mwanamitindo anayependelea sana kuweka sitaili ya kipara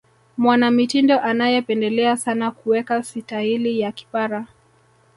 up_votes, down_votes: 3, 2